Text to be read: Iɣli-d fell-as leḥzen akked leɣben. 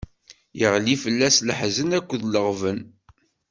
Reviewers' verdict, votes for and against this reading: rejected, 1, 2